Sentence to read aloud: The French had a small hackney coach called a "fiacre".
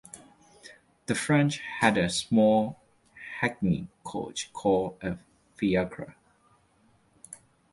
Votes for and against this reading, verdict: 2, 0, accepted